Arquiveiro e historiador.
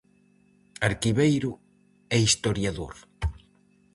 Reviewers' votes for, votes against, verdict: 4, 0, accepted